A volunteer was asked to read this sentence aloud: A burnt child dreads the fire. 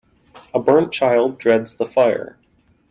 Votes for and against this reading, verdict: 2, 0, accepted